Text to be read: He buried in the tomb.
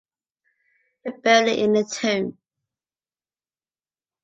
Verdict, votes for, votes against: rejected, 0, 2